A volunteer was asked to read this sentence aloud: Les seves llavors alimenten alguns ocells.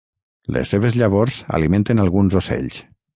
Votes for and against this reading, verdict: 6, 0, accepted